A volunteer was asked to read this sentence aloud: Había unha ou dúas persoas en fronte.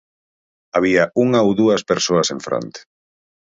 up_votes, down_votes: 4, 0